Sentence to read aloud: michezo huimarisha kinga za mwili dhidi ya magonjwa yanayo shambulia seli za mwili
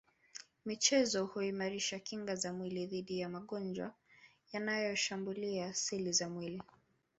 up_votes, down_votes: 1, 2